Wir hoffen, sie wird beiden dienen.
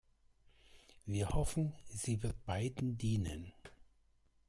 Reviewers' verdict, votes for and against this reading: accepted, 2, 0